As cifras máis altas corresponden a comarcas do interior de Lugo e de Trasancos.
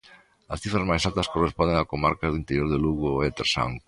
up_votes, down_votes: 0, 2